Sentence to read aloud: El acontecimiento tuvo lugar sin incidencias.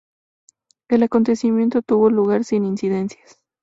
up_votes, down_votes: 2, 0